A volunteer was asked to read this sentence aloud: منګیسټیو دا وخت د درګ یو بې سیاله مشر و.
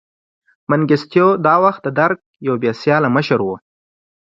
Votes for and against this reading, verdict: 2, 0, accepted